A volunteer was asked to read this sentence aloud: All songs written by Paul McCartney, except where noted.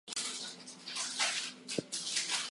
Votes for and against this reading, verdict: 0, 4, rejected